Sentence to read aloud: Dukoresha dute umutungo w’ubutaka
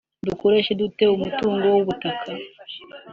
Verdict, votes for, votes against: accepted, 2, 0